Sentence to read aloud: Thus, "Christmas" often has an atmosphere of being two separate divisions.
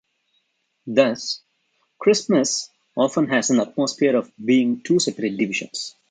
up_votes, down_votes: 2, 0